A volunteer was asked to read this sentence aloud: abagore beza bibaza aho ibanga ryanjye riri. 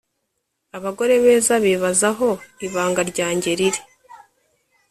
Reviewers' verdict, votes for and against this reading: accepted, 3, 0